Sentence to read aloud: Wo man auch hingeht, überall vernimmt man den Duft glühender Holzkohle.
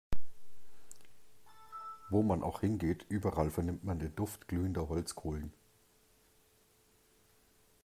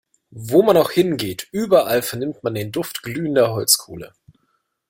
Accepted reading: second